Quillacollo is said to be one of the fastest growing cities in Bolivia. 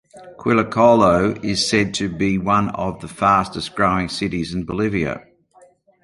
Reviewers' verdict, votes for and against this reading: accepted, 2, 0